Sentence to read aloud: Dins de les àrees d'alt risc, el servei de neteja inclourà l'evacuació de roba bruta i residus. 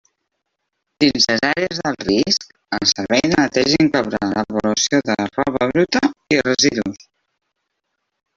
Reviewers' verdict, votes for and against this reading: rejected, 1, 3